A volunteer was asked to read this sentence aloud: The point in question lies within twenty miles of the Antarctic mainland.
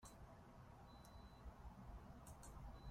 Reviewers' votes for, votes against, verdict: 0, 2, rejected